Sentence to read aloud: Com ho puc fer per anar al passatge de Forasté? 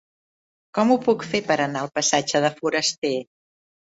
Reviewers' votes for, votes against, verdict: 2, 0, accepted